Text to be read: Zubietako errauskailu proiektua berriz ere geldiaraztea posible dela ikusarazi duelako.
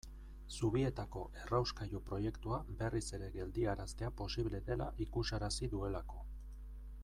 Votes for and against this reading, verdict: 2, 0, accepted